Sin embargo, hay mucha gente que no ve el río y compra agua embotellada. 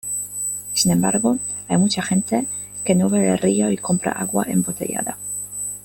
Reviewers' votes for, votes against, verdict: 0, 2, rejected